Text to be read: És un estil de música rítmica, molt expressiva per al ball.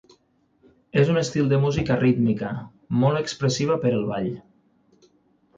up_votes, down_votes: 42, 3